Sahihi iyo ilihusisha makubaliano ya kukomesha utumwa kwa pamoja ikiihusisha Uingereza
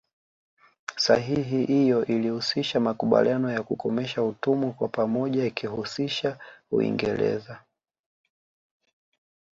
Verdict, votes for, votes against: accepted, 2, 0